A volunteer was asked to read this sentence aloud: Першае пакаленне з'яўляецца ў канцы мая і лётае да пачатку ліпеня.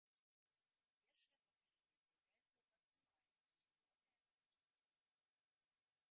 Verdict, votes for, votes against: rejected, 0, 2